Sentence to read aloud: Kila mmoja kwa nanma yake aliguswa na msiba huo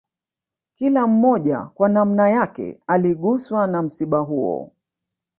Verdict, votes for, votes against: rejected, 0, 2